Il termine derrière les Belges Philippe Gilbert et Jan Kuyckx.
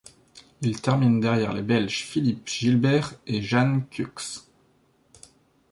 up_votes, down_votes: 1, 2